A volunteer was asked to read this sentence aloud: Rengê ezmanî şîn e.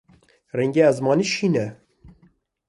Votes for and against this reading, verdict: 2, 0, accepted